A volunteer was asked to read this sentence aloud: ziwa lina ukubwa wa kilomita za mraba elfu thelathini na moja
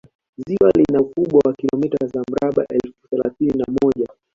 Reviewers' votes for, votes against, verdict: 0, 2, rejected